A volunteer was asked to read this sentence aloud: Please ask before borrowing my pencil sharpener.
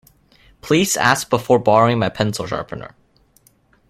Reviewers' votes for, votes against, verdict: 2, 0, accepted